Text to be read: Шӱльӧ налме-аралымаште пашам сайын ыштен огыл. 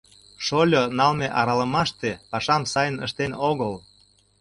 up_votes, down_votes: 0, 2